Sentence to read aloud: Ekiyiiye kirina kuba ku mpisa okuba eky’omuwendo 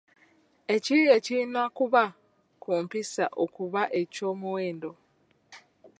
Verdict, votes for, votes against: accepted, 2, 0